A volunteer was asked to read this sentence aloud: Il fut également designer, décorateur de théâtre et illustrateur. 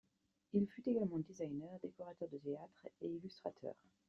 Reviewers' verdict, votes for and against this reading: accepted, 2, 0